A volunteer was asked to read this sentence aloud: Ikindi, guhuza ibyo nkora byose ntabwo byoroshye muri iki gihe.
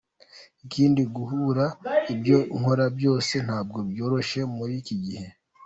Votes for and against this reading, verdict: 2, 1, accepted